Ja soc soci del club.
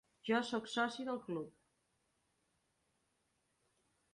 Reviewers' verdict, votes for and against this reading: rejected, 1, 2